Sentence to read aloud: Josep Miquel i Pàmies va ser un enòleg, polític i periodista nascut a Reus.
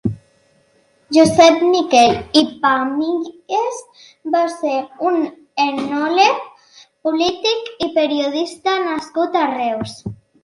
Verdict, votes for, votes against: rejected, 1, 3